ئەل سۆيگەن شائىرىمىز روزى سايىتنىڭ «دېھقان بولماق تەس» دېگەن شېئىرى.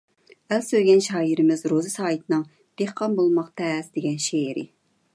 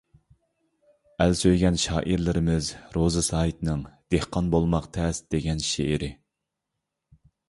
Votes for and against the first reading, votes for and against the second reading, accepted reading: 2, 0, 1, 2, first